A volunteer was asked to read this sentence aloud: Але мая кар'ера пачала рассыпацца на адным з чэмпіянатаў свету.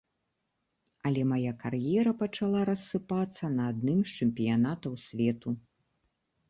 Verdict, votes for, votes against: accepted, 2, 0